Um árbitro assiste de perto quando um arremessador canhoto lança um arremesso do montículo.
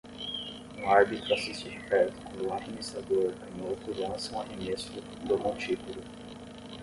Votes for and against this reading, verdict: 5, 5, rejected